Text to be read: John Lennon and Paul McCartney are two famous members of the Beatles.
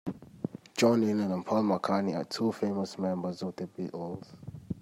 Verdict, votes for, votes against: rejected, 1, 2